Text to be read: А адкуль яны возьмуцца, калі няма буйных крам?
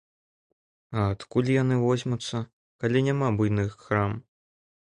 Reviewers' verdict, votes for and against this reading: accepted, 2, 1